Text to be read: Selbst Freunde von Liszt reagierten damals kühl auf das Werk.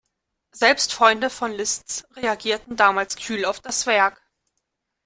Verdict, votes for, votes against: accepted, 2, 1